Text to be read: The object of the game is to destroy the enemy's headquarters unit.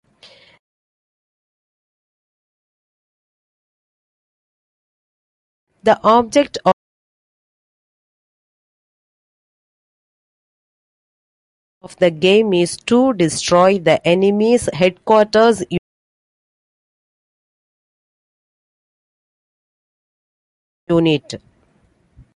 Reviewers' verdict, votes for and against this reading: rejected, 1, 2